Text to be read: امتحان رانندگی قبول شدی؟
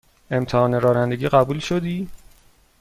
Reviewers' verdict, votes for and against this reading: accepted, 2, 0